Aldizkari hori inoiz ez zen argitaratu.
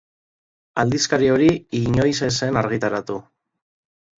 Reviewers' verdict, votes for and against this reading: rejected, 0, 2